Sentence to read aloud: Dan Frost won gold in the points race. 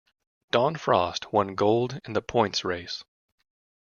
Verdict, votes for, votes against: rejected, 1, 2